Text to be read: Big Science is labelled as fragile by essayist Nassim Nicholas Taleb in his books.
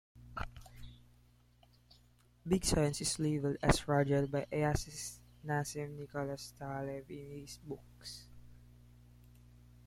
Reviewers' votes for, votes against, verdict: 0, 2, rejected